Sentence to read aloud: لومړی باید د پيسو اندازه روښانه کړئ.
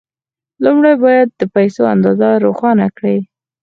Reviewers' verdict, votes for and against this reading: accepted, 4, 0